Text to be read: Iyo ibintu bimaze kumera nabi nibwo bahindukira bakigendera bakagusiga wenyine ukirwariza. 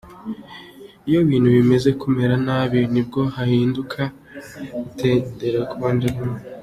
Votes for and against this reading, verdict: 1, 2, rejected